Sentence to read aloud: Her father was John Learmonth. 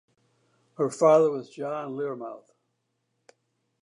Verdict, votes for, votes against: accepted, 2, 0